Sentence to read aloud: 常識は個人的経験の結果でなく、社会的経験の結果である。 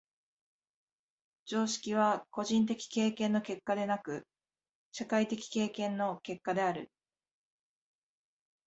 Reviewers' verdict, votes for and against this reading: accepted, 2, 0